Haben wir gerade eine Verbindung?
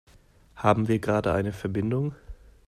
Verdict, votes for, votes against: rejected, 0, 2